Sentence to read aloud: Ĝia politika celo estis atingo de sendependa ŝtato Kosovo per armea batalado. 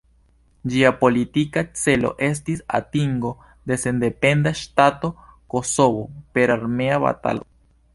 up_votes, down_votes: 2, 1